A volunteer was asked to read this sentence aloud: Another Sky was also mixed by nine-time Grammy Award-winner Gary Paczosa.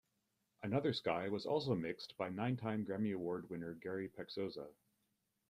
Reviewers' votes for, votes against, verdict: 2, 0, accepted